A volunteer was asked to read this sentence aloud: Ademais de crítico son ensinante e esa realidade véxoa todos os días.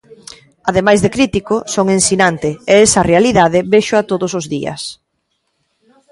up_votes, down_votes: 2, 0